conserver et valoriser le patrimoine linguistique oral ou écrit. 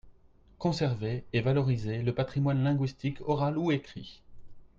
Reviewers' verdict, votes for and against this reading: accepted, 2, 0